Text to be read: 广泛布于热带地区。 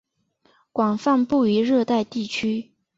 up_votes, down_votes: 3, 0